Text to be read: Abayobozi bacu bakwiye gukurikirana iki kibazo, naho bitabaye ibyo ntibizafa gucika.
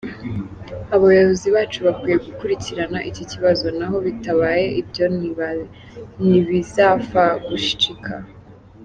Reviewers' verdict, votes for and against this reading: rejected, 0, 2